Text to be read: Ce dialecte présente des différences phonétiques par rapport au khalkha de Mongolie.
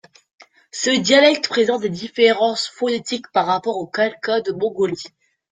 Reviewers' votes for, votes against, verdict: 2, 0, accepted